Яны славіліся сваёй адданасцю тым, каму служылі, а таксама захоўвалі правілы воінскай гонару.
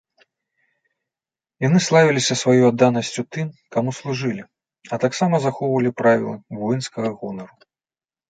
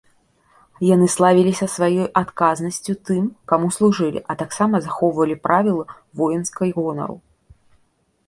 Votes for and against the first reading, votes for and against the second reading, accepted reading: 3, 0, 0, 2, first